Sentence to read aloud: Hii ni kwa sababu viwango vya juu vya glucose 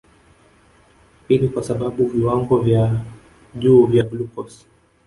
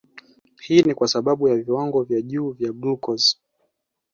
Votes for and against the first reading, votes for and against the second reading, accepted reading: 0, 2, 2, 1, second